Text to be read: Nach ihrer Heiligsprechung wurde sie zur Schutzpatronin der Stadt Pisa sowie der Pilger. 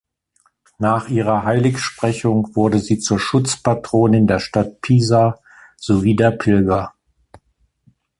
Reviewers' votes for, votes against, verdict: 2, 1, accepted